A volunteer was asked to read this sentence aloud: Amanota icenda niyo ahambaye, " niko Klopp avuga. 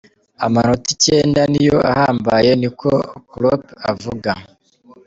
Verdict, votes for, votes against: accepted, 2, 0